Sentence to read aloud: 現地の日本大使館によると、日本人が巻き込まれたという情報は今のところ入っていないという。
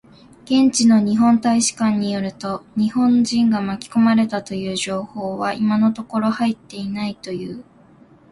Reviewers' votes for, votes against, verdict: 4, 0, accepted